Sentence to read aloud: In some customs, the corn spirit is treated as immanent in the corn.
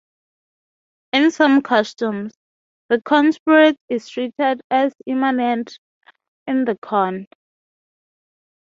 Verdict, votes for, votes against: rejected, 0, 6